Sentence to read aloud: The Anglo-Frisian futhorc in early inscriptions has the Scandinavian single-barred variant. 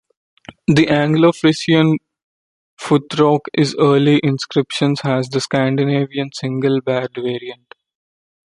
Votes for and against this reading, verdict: 1, 2, rejected